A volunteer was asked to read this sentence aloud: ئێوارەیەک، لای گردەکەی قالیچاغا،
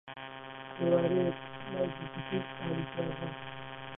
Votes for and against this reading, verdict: 0, 2, rejected